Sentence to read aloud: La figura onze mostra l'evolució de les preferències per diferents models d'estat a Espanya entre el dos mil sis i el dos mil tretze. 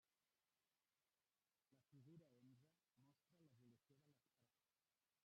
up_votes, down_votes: 0, 2